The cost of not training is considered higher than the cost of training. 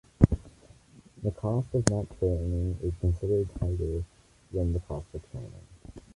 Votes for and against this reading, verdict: 2, 1, accepted